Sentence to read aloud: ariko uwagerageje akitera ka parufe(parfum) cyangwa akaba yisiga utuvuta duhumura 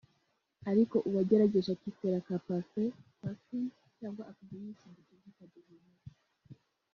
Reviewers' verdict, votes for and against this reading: rejected, 0, 3